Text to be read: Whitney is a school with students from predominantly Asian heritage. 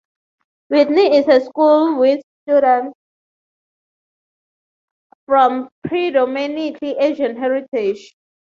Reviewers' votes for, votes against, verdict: 0, 6, rejected